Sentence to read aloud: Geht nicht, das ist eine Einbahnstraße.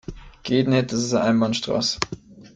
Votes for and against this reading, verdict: 1, 2, rejected